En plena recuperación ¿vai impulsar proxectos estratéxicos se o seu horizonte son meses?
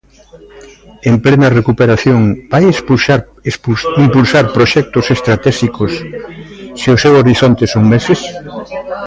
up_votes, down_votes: 0, 2